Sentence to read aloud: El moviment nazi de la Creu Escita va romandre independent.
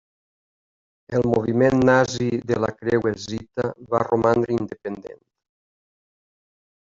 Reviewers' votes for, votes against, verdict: 1, 2, rejected